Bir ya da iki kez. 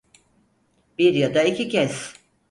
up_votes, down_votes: 4, 0